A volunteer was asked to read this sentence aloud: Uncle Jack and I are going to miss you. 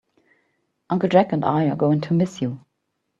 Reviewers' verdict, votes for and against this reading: accepted, 2, 0